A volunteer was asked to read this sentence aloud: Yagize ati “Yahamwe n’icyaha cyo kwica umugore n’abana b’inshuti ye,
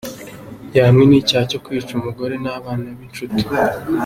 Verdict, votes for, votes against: rejected, 1, 2